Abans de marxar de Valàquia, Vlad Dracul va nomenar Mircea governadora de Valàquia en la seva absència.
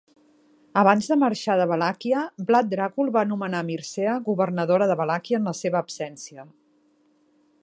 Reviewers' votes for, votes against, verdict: 2, 0, accepted